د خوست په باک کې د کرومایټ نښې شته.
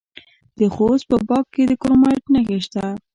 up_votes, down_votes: 2, 1